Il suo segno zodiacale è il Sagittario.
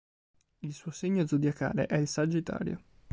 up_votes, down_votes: 3, 0